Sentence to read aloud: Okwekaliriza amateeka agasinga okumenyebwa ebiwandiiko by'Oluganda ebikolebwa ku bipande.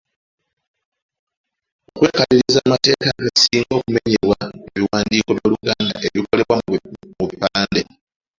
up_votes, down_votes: 1, 2